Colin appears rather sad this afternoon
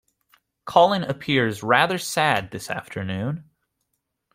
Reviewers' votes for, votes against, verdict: 2, 0, accepted